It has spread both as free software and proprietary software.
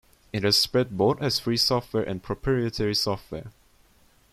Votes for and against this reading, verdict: 2, 1, accepted